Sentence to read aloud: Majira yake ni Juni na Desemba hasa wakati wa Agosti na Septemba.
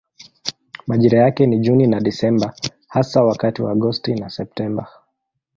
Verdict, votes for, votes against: accepted, 2, 1